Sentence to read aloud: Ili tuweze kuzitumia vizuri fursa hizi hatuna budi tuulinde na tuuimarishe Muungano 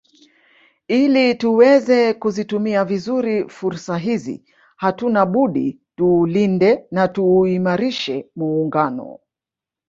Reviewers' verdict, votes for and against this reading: rejected, 0, 2